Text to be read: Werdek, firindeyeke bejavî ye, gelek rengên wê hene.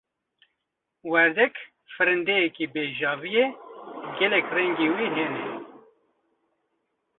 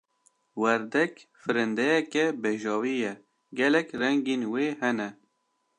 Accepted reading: second